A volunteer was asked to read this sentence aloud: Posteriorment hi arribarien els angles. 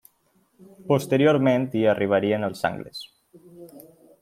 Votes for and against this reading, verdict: 3, 0, accepted